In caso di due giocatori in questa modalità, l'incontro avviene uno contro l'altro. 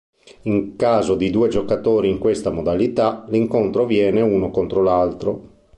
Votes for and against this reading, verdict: 2, 0, accepted